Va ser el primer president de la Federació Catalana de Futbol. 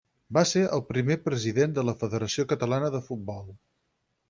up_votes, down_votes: 6, 0